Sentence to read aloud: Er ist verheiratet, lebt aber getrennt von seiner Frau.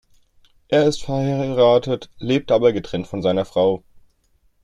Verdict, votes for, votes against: rejected, 0, 2